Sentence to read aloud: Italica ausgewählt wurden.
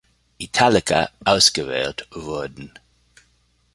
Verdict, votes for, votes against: accepted, 2, 0